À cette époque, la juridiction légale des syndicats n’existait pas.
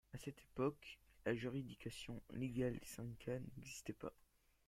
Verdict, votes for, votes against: accepted, 2, 0